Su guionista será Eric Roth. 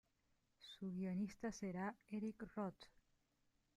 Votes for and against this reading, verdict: 0, 2, rejected